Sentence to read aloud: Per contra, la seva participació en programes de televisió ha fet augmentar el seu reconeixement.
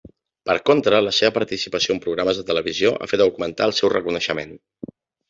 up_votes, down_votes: 3, 0